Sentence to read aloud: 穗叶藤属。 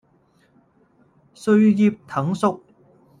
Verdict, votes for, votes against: rejected, 1, 2